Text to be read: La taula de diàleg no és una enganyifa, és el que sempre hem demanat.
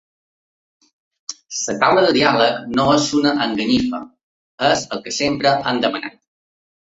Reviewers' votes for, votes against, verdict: 1, 2, rejected